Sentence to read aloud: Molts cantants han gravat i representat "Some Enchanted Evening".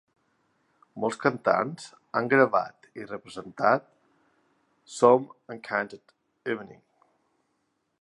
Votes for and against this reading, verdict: 2, 0, accepted